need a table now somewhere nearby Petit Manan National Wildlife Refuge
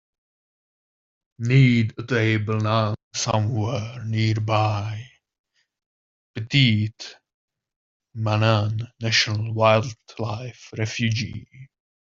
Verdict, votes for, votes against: rejected, 0, 2